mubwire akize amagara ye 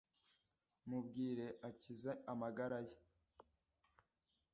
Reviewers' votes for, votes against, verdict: 2, 0, accepted